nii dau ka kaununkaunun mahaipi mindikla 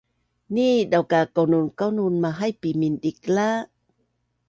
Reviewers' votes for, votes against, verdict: 2, 0, accepted